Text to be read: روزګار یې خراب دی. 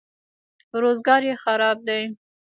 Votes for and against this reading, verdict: 1, 2, rejected